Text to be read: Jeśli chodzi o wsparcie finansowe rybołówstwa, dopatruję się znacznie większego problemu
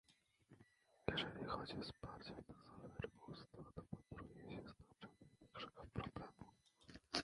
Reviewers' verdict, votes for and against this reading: rejected, 1, 2